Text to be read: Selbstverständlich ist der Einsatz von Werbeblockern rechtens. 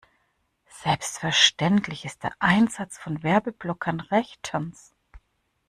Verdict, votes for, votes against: accepted, 2, 0